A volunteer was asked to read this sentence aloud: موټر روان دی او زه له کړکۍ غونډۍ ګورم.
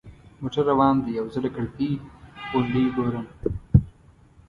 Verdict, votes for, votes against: rejected, 1, 2